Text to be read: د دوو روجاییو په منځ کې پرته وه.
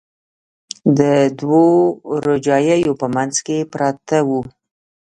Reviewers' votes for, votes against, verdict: 0, 2, rejected